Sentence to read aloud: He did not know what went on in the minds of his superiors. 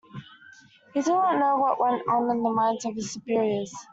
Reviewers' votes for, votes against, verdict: 0, 2, rejected